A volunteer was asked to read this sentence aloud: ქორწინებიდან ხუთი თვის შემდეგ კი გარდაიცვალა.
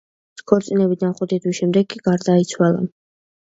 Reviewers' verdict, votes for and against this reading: accepted, 2, 0